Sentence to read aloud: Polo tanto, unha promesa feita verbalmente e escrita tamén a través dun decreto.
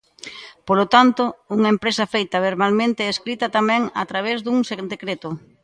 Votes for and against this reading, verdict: 0, 2, rejected